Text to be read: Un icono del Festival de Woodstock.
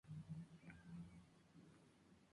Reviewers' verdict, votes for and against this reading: rejected, 0, 2